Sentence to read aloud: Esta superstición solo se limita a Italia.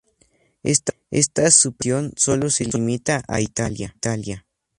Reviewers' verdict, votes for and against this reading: rejected, 0, 2